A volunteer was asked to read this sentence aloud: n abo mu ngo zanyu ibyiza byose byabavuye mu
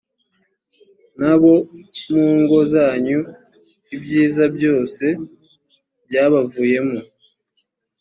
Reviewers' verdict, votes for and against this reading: accepted, 2, 0